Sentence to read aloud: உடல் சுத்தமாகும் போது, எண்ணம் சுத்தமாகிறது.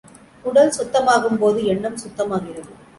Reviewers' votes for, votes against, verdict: 2, 0, accepted